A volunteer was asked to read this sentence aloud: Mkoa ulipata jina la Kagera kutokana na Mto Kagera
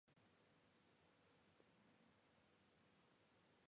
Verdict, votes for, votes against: rejected, 0, 2